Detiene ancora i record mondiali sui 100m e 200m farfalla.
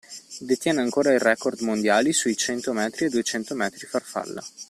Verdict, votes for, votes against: rejected, 0, 2